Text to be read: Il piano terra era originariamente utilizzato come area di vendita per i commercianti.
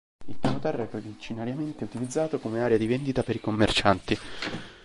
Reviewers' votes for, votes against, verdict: 1, 3, rejected